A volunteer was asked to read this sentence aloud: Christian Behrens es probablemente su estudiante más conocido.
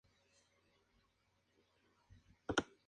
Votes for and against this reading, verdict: 0, 2, rejected